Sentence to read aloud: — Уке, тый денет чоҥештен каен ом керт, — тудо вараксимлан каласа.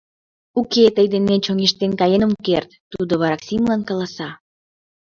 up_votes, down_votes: 1, 2